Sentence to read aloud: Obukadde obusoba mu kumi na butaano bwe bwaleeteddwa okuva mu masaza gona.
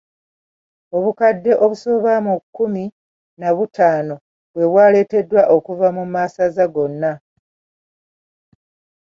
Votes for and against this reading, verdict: 0, 2, rejected